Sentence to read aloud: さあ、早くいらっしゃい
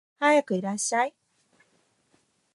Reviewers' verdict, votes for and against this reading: rejected, 0, 2